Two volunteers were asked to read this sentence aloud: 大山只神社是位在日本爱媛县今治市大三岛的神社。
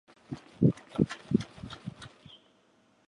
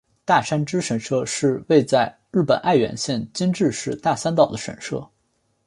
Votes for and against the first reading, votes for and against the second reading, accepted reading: 0, 4, 2, 0, second